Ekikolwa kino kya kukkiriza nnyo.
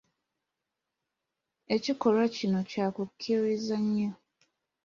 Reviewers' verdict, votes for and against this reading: accepted, 2, 1